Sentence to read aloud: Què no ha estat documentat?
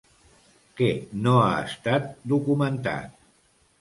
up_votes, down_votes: 2, 0